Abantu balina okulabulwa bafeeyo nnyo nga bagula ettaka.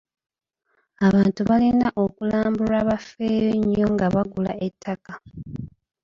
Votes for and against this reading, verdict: 0, 2, rejected